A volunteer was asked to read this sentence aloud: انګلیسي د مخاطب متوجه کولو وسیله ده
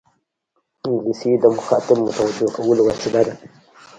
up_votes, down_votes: 0, 2